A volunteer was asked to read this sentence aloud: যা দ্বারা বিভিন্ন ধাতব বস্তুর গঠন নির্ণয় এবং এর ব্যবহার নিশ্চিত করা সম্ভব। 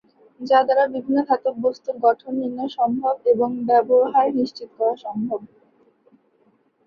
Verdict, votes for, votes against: rejected, 4, 5